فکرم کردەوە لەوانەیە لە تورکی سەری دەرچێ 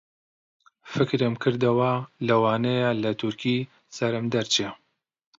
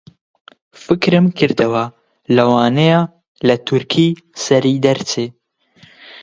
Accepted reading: second